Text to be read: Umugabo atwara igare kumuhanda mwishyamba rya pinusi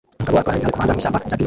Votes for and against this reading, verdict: 0, 2, rejected